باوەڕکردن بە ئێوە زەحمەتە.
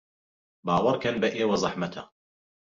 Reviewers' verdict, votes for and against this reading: rejected, 1, 2